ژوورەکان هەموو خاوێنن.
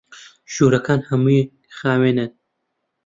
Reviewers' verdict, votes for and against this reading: rejected, 1, 2